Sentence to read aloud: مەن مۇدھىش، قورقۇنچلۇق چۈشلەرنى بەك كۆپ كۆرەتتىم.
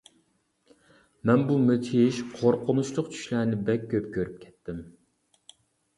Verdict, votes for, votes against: rejected, 0, 2